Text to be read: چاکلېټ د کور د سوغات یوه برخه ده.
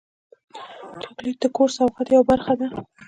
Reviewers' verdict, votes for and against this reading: accepted, 2, 0